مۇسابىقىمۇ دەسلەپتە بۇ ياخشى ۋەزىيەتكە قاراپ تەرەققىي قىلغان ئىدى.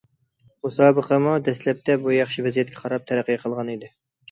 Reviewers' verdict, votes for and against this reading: accepted, 2, 0